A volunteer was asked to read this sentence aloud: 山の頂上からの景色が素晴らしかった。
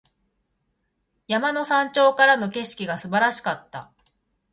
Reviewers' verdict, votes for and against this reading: rejected, 1, 2